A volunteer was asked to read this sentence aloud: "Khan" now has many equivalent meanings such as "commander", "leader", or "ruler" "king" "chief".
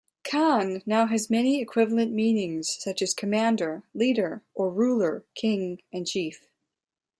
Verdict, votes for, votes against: rejected, 1, 2